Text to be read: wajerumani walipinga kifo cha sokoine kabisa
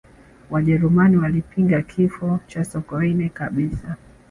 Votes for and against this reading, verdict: 4, 1, accepted